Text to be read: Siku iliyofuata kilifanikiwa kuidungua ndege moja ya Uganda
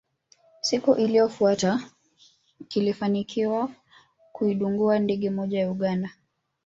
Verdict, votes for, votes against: rejected, 1, 2